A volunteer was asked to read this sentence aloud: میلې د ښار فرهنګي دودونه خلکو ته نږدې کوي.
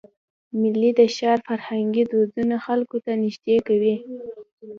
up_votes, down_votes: 2, 0